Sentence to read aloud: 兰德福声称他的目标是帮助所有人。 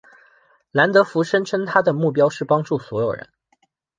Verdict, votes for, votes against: accepted, 2, 0